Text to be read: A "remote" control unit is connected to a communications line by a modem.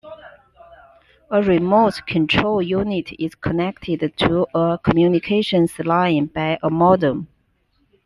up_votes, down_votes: 2, 0